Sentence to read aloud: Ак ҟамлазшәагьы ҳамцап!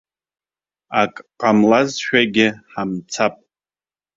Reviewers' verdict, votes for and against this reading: accepted, 2, 0